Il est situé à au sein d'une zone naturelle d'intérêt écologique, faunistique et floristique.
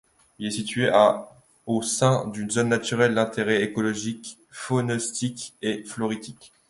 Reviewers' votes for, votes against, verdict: 2, 1, accepted